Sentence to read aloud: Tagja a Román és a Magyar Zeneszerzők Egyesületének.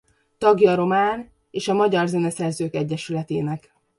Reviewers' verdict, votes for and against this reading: accepted, 2, 0